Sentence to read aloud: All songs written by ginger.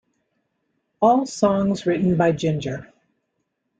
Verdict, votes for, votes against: accepted, 2, 0